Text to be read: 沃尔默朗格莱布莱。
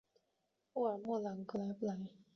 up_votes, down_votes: 1, 2